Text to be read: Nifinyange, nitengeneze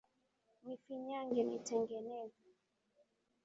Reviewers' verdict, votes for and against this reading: accepted, 2, 0